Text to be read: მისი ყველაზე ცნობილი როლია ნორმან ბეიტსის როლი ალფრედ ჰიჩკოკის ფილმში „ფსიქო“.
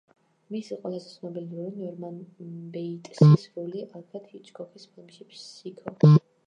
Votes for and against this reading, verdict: 1, 2, rejected